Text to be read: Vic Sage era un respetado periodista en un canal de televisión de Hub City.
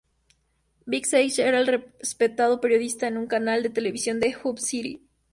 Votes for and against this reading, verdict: 2, 0, accepted